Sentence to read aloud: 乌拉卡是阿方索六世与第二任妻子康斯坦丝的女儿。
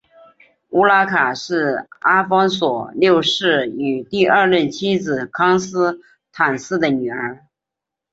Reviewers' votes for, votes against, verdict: 2, 0, accepted